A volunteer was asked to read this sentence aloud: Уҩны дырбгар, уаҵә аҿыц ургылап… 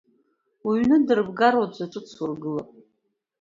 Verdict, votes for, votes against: accepted, 2, 0